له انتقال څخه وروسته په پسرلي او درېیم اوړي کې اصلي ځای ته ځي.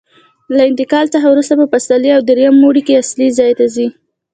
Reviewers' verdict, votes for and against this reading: rejected, 1, 2